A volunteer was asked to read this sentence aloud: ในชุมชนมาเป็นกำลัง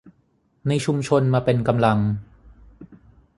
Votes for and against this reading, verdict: 6, 0, accepted